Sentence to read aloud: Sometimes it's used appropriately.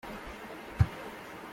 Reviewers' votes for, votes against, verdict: 1, 2, rejected